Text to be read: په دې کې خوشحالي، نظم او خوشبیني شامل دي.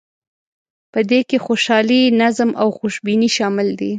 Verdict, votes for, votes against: accepted, 2, 0